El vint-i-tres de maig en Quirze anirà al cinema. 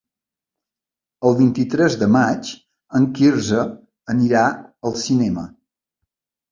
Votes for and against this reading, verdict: 3, 0, accepted